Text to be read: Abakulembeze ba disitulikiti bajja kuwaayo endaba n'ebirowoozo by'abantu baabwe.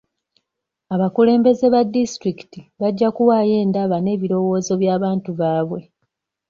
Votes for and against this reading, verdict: 2, 0, accepted